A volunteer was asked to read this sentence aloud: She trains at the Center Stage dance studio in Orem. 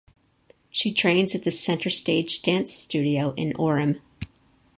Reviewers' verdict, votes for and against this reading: accepted, 4, 0